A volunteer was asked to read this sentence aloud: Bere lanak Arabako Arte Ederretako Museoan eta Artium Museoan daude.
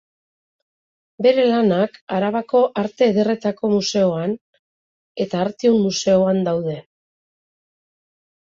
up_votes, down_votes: 2, 0